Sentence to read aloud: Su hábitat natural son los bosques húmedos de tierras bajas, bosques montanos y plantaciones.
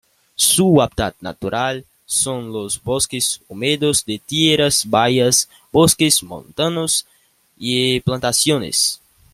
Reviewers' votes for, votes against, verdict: 1, 2, rejected